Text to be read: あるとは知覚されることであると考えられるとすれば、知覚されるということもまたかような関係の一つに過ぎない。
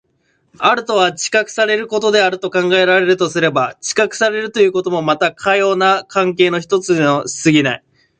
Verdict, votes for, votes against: rejected, 0, 2